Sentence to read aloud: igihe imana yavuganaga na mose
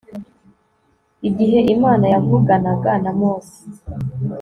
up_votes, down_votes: 1, 2